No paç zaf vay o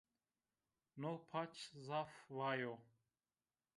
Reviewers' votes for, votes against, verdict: 1, 2, rejected